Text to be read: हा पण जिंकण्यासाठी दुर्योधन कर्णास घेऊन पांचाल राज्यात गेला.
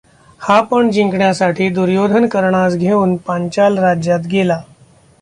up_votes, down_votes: 2, 0